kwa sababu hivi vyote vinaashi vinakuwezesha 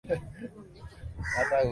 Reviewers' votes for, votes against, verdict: 0, 2, rejected